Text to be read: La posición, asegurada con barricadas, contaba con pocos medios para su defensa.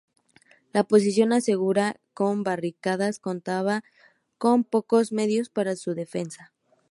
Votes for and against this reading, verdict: 0, 2, rejected